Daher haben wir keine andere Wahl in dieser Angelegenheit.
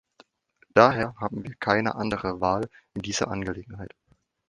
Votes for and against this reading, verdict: 2, 0, accepted